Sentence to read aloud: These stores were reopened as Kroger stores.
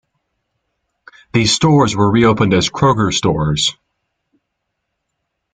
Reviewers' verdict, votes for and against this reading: accepted, 2, 0